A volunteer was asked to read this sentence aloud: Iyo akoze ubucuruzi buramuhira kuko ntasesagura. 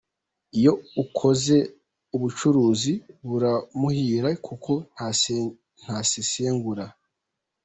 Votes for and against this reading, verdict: 0, 2, rejected